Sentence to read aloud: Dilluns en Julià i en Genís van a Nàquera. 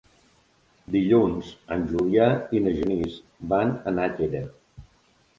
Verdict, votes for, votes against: rejected, 0, 2